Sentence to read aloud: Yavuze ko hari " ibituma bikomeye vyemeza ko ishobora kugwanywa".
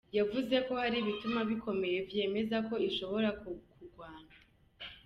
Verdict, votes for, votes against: accepted, 2, 0